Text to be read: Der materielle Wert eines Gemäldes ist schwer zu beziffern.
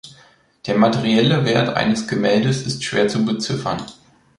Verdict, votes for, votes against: accepted, 2, 0